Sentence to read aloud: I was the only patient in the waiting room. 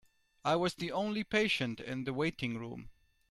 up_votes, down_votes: 2, 0